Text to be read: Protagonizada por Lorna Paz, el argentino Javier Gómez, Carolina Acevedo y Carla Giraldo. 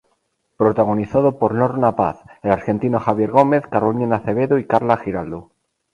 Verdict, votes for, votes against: accepted, 2, 0